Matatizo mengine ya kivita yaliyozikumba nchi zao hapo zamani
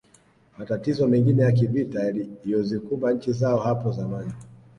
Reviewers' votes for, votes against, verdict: 2, 0, accepted